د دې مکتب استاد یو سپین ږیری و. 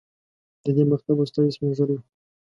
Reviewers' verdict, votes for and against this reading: rejected, 1, 2